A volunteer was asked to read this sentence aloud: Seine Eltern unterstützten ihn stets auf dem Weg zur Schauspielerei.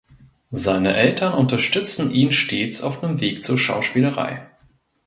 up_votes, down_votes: 0, 2